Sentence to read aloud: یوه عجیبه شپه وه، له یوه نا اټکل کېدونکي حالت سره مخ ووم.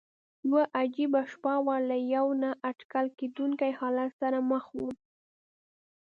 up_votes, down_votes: 2, 0